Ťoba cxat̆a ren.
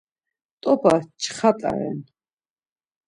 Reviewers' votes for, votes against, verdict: 0, 2, rejected